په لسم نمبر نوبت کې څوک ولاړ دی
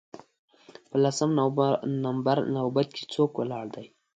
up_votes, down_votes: 2, 1